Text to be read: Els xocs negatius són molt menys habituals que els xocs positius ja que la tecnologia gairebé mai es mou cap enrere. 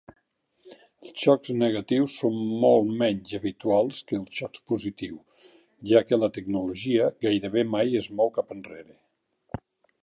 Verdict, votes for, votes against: accepted, 2, 0